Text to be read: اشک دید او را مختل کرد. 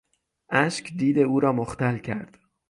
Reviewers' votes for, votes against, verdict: 6, 3, accepted